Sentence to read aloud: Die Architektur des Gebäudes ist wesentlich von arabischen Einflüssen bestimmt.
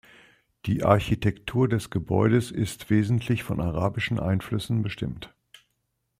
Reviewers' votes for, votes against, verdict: 2, 0, accepted